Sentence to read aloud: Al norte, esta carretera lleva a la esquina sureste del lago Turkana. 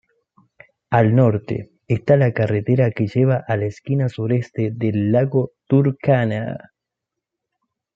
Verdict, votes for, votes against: rejected, 1, 2